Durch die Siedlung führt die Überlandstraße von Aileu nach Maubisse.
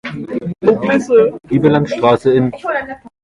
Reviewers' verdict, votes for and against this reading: rejected, 0, 2